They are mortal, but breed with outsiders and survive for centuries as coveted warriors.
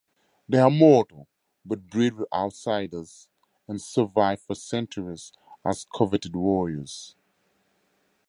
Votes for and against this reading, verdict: 4, 0, accepted